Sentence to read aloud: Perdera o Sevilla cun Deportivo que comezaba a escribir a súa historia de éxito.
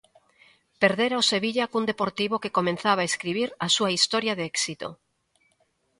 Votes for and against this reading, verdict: 0, 2, rejected